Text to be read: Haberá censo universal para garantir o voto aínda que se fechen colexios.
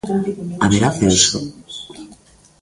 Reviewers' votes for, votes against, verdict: 0, 2, rejected